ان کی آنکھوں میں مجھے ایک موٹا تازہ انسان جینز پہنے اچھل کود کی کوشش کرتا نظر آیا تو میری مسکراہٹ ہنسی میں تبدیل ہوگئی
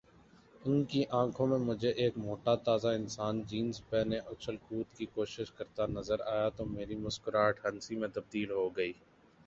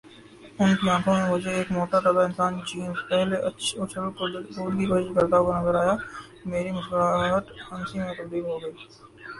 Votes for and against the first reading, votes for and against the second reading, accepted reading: 2, 0, 3, 11, first